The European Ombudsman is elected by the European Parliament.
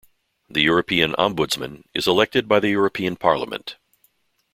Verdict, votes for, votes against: accepted, 2, 0